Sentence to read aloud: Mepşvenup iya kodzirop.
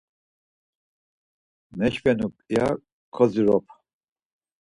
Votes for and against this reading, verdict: 2, 4, rejected